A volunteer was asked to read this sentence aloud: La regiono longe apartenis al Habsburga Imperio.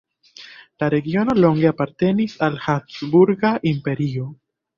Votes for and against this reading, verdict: 2, 1, accepted